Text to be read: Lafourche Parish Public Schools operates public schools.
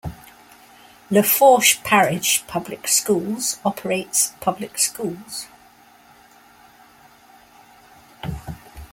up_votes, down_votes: 2, 0